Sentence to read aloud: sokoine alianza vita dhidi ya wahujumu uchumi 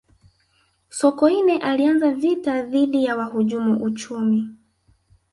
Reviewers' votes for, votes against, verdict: 4, 0, accepted